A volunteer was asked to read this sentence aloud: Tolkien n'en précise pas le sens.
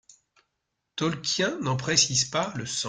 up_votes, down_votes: 0, 2